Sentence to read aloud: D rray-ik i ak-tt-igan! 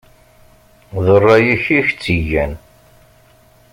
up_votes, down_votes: 2, 0